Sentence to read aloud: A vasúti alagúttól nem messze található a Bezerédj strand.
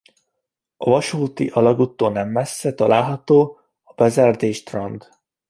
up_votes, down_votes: 1, 2